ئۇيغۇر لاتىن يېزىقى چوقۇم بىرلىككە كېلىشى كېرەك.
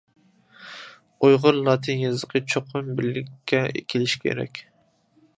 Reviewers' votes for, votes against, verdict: 2, 1, accepted